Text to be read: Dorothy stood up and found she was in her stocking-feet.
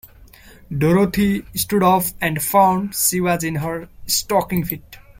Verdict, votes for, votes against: rejected, 0, 2